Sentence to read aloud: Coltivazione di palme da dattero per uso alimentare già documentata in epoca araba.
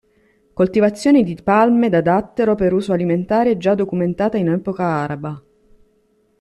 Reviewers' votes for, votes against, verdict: 2, 1, accepted